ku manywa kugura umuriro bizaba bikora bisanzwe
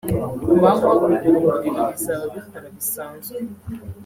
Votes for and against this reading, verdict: 1, 2, rejected